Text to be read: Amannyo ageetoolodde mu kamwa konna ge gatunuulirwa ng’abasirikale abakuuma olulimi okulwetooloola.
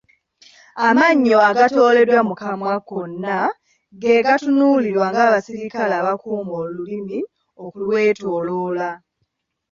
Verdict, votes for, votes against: rejected, 2, 3